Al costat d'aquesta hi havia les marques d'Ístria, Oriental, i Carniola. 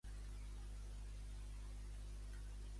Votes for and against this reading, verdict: 0, 2, rejected